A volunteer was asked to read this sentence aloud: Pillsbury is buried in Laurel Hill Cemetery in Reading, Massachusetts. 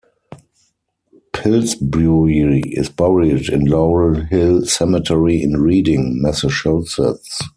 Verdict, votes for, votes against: rejected, 2, 4